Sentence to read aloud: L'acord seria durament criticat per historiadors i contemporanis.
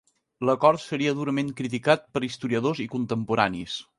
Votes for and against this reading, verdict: 2, 0, accepted